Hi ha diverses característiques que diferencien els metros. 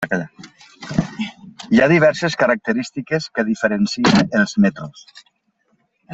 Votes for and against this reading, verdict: 0, 2, rejected